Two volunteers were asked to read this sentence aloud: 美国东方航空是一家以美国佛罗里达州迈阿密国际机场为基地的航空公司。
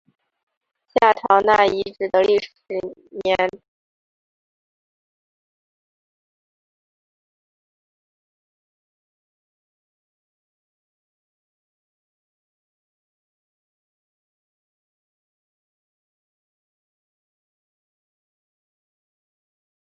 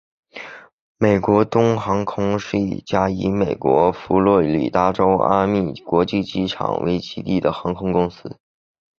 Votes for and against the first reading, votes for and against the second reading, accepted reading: 0, 4, 3, 1, second